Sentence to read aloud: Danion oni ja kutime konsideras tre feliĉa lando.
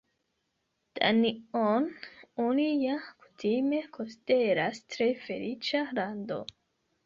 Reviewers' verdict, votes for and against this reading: rejected, 2, 3